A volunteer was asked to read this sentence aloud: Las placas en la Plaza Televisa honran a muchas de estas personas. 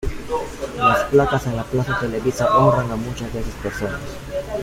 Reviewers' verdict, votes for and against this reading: rejected, 0, 2